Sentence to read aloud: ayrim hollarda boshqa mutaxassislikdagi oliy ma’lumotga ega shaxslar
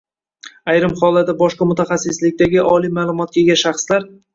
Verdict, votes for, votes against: rejected, 1, 2